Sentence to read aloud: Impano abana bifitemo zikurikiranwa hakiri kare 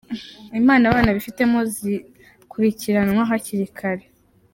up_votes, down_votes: 3, 0